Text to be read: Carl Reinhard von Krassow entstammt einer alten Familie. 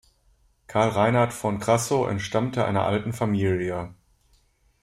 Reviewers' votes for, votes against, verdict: 0, 2, rejected